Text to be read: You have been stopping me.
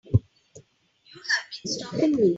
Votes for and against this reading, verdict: 0, 2, rejected